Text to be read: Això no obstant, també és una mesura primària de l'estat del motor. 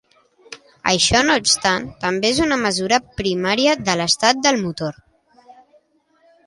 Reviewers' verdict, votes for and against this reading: accepted, 2, 0